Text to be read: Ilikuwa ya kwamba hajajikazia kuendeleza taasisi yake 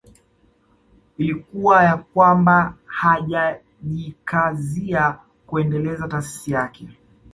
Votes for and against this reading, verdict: 1, 2, rejected